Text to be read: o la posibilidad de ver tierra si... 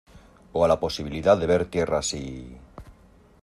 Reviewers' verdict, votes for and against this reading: rejected, 1, 2